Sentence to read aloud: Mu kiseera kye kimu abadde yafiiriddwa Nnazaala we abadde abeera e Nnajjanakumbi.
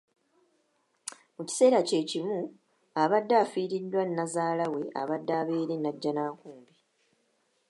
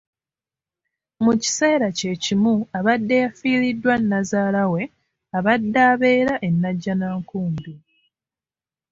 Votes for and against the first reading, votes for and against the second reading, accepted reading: 2, 0, 0, 2, first